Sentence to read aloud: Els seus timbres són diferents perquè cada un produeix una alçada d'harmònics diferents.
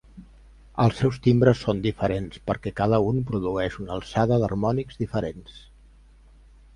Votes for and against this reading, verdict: 3, 0, accepted